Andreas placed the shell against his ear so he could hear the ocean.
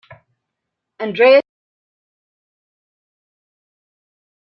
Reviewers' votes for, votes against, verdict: 0, 2, rejected